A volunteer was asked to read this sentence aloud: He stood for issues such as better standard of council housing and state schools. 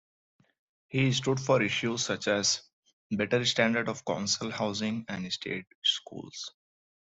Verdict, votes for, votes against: rejected, 1, 2